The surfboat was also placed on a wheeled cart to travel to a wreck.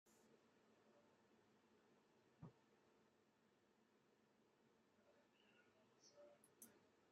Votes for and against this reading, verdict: 0, 2, rejected